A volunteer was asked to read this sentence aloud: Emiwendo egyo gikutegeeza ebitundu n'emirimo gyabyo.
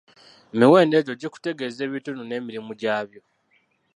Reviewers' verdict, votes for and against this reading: rejected, 0, 2